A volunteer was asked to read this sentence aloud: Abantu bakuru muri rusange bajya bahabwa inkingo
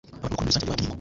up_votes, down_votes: 0, 2